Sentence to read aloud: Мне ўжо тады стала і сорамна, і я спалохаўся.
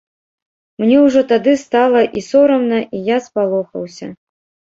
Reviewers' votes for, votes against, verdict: 2, 1, accepted